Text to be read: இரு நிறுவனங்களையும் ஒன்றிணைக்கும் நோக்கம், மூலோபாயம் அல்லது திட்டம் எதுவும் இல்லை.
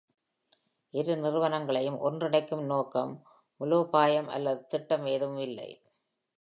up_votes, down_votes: 1, 2